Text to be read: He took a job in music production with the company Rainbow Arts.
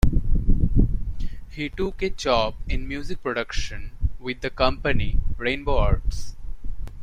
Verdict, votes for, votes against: accepted, 2, 0